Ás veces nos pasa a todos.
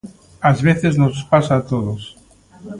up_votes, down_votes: 2, 0